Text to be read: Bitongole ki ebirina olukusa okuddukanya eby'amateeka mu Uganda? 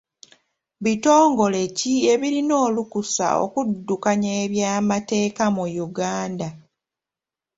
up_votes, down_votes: 2, 0